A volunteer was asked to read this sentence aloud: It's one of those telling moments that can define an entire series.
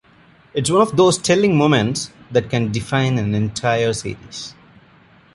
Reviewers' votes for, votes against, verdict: 2, 0, accepted